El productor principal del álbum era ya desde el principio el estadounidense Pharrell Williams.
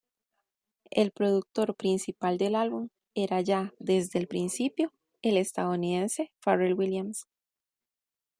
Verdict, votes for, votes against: rejected, 0, 2